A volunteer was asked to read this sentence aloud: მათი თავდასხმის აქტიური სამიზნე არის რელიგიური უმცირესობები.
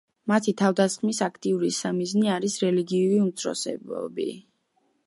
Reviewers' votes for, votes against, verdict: 1, 2, rejected